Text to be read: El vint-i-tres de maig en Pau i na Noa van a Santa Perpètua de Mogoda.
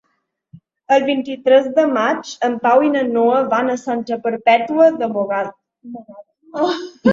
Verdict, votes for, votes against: rejected, 0, 2